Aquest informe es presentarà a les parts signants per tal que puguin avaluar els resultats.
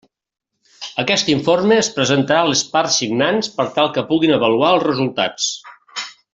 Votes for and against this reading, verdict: 1, 2, rejected